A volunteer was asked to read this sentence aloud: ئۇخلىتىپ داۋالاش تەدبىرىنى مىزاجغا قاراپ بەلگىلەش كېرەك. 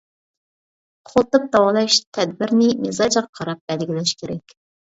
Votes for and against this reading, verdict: 1, 2, rejected